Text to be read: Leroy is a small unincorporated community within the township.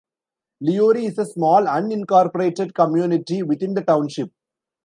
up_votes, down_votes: 2, 0